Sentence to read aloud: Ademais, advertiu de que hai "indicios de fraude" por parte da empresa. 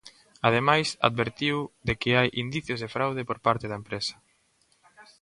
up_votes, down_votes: 1, 2